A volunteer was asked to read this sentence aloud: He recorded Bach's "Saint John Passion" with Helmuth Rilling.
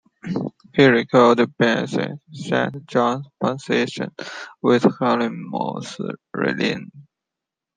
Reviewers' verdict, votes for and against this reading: rejected, 1, 2